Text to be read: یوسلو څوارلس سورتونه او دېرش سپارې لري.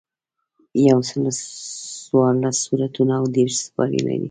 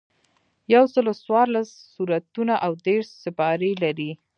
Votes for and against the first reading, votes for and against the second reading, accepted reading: 2, 1, 1, 2, first